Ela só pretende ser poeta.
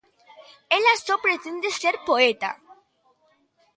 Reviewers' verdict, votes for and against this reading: accepted, 2, 0